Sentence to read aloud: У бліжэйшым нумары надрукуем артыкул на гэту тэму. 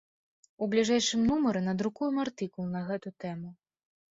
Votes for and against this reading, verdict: 2, 0, accepted